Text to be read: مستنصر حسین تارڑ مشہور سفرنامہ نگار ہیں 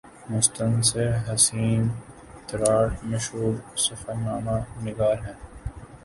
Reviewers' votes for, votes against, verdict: 1, 2, rejected